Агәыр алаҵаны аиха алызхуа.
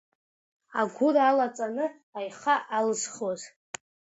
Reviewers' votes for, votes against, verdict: 2, 1, accepted